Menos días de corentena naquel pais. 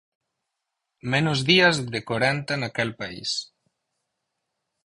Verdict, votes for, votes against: rejected, 0, 4